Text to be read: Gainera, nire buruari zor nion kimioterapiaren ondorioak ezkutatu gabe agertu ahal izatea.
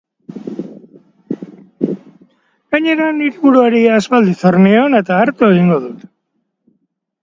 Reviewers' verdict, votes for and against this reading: rejected, 0, 2